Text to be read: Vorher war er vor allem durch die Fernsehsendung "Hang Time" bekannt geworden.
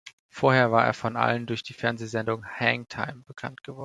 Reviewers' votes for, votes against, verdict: 1, 2, rejected